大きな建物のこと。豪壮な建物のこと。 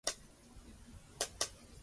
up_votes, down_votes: 0, 2